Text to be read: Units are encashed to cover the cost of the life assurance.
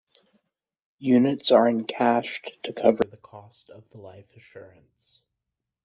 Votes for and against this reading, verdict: 1, 2, rejected